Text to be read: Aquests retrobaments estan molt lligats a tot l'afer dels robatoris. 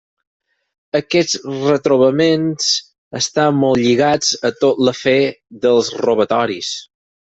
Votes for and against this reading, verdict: 4, 0, accepted